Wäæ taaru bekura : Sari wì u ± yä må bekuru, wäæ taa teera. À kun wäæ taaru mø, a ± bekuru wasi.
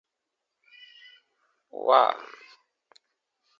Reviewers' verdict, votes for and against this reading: rejected, 0, 2